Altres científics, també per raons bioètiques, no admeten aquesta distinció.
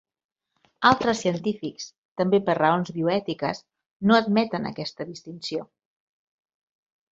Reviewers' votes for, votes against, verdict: 4, 0, accepted